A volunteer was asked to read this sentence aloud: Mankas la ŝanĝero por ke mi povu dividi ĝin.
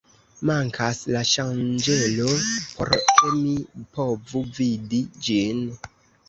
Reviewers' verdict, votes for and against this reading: rejected, 0, 2